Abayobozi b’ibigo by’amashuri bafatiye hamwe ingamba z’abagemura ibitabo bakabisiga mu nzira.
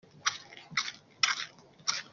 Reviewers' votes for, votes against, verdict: 0, 2, rejected